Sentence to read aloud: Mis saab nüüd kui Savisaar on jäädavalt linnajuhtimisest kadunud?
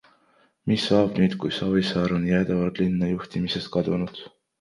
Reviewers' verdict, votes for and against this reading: accepted, 2, 1